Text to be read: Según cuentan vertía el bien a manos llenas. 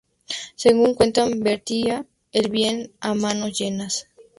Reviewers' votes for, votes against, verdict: 4, 0, accepted